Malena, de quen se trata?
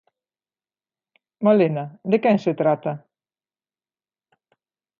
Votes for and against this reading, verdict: 2, 0, accepted